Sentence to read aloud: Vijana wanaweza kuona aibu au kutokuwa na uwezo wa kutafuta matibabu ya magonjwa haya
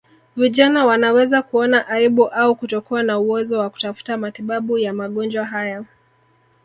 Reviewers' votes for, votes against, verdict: 3, 0, accepted